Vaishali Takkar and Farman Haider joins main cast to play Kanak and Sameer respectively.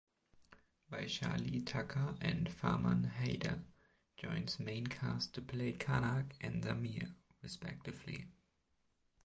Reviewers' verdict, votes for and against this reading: rejected, 1, 2